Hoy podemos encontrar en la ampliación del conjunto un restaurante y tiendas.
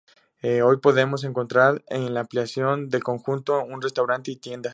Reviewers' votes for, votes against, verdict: 0, 2, rejected